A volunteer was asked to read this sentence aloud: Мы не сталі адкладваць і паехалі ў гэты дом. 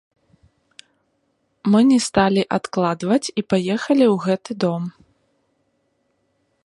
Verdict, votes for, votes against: rejected, 1, 2